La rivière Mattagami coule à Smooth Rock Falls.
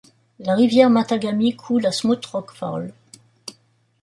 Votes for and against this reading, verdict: 1, 2, rejected